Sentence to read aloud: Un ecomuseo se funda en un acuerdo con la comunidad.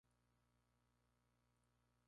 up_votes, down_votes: 0, 2